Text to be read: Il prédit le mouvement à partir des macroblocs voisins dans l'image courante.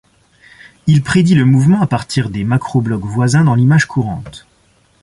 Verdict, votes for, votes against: accepted, 2, 0